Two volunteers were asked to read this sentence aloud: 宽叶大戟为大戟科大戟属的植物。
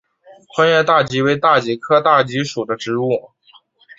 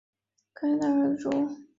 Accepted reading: first